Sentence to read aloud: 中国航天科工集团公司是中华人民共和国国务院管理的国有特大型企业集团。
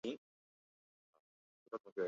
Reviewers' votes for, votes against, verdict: 0, 3, rejected